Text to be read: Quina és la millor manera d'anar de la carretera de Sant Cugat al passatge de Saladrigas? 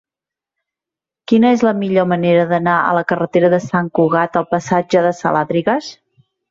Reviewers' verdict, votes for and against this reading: rejected, 0, 2